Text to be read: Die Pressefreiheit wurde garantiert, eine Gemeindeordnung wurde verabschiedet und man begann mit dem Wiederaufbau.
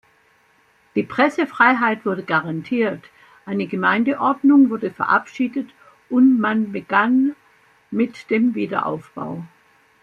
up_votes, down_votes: 2, 0